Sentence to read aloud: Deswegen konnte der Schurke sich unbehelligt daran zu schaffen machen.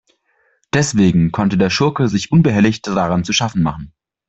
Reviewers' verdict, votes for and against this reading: accepted, 2, 0